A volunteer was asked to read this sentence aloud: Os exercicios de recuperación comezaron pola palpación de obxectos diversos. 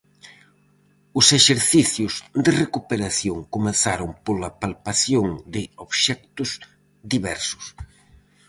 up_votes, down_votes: 4, 0